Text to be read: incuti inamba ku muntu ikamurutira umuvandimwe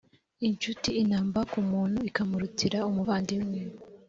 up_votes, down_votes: 3, 1